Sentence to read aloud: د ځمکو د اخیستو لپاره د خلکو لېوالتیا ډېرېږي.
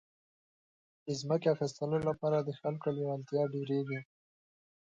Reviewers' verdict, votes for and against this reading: accepted, 2, 0